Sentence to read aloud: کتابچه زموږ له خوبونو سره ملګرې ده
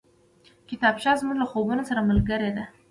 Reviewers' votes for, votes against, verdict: 1, 2, rejected